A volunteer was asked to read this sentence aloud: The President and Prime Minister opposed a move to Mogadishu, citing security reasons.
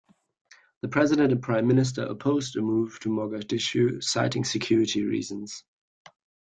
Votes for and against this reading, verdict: 2, 0, accepted